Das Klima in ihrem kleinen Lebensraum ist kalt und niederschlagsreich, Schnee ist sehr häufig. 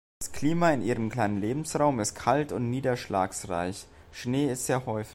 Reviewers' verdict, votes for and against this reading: rejected, 1, 2